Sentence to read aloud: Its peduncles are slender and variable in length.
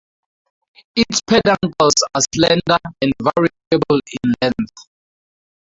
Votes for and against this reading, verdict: 0, 2, rejected